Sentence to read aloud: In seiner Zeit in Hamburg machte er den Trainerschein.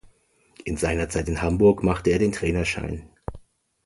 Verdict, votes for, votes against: accepted, 2, 0